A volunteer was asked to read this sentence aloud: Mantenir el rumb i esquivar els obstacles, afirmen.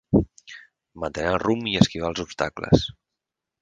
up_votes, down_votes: 0, 4